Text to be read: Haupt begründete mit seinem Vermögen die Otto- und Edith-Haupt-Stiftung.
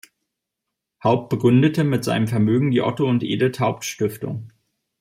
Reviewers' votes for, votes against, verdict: 2, 0, accepted